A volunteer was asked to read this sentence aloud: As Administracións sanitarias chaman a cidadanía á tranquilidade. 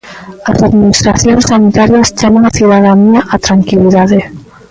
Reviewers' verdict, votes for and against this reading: rejected, 0, 2